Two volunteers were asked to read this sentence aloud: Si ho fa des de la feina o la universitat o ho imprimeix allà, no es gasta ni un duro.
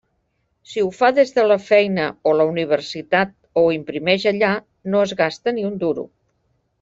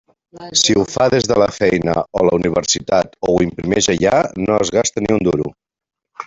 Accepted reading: first